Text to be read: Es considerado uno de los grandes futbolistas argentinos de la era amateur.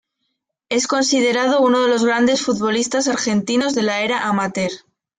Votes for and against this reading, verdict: 2, 0, accepted